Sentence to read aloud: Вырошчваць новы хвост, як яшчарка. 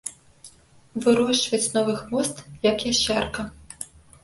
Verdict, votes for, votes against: rejected, 0, 2